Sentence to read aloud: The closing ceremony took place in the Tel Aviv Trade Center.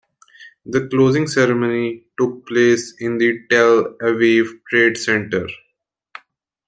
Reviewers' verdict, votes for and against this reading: accepted, 2, 0